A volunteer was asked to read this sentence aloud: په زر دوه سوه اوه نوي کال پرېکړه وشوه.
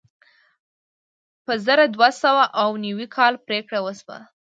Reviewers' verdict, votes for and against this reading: accepted, 2, 0